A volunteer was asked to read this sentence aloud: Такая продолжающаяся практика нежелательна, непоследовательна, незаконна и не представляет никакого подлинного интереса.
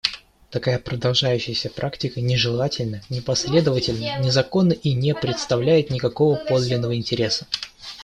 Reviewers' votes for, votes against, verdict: 2, 1, accepted